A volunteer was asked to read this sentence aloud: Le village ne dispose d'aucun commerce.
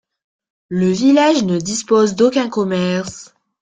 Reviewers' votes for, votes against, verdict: 2, 0, accepted